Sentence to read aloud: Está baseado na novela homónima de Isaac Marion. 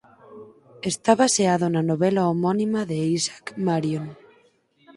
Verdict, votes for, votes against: accepted, 4, 2